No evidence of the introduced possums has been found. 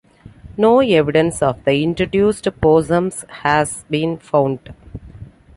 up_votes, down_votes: 2, 1